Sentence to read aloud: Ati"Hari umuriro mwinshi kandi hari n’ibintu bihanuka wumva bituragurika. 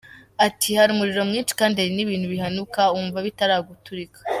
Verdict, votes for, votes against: rejected, 1, 2